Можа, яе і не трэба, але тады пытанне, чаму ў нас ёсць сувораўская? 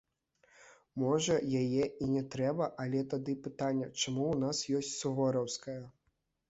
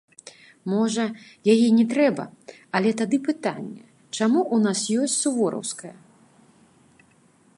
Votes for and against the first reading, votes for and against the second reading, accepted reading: 2, 0, 0, 2, first